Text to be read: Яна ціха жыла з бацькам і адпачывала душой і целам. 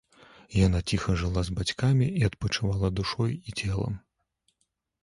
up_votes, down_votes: 0, 2